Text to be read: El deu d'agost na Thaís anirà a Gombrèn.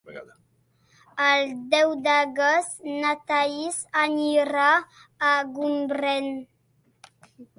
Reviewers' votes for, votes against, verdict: 2, 0, accepted